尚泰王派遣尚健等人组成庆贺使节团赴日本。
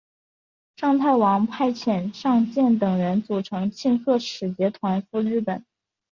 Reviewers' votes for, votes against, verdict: 2, 1, accepted